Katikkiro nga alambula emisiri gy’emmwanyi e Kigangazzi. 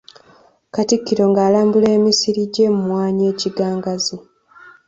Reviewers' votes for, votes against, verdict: 2, 0, accepted